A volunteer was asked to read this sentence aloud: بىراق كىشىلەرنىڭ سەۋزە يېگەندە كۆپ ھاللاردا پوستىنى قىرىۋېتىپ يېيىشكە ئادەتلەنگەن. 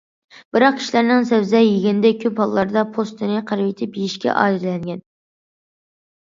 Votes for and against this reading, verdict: 2, 0, accepted